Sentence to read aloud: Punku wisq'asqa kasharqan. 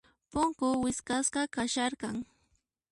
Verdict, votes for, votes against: accepted, 2, 1